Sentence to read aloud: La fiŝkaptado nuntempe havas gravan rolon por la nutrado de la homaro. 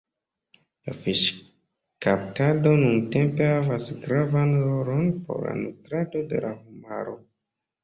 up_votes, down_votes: 1, 2